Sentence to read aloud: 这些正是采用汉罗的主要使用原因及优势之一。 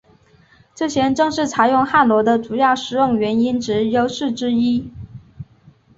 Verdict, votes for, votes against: accepted, 2, 0